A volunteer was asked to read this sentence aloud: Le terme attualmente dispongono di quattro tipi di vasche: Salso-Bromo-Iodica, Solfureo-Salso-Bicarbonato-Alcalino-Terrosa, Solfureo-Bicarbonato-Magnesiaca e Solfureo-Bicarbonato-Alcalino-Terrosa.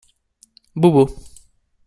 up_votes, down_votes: 0, 2